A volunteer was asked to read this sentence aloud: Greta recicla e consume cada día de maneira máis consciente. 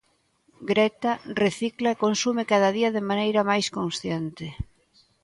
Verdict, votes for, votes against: accepted, 2, 0